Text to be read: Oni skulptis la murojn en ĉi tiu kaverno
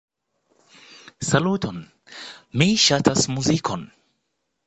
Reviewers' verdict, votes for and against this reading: rejected, 0, 2